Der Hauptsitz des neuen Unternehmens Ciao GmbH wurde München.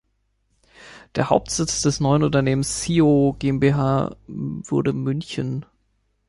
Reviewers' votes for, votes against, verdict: 1, 3, rejected